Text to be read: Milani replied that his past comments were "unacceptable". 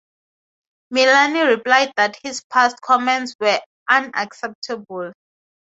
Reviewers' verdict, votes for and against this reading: accepted, 2, 0